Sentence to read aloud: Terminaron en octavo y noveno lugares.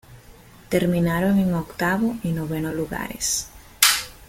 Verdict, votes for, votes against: rejected, 1, 2